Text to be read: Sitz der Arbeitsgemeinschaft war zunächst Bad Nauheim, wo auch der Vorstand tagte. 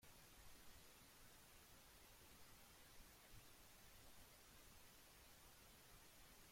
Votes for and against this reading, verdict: 0, 2, rejected